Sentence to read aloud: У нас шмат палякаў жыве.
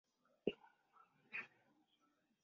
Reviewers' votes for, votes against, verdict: 0, 2, rejected